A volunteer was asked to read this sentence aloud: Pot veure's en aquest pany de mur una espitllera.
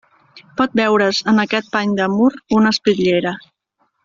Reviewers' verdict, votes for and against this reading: accepted, 2, 0